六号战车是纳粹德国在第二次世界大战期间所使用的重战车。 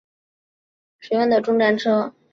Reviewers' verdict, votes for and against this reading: rejected, 0, 3